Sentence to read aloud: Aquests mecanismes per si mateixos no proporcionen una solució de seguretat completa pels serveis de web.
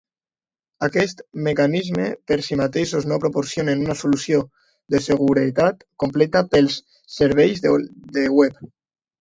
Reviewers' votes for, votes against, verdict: 2, 3, rejected